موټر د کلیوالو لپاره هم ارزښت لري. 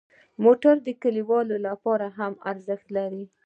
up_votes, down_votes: 2, 1